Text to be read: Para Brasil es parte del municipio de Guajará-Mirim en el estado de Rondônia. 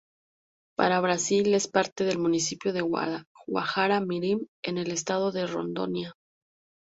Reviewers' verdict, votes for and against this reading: accepted, 2, 0